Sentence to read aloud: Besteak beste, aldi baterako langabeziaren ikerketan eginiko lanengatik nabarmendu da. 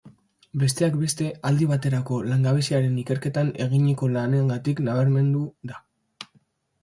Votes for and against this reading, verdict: 2, 0, accepted